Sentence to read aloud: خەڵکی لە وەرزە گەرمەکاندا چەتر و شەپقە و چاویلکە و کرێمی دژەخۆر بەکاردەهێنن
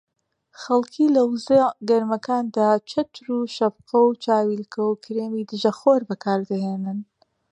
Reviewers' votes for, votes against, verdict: 2, 1, accepted